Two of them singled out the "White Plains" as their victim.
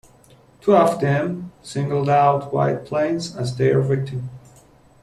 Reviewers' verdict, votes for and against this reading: rejected, 0, 2